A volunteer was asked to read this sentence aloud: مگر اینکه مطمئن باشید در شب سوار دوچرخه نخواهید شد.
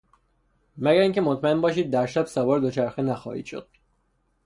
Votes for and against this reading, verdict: 3, 0, accepted